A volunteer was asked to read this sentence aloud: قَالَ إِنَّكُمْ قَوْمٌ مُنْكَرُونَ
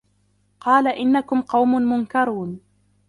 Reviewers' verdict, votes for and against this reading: rejected, 1, 2